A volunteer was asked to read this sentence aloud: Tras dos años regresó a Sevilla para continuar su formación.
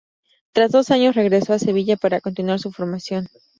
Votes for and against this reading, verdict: 2, 0, accepted